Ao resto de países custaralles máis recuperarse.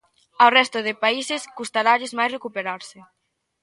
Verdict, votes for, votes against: accepted, 2, 0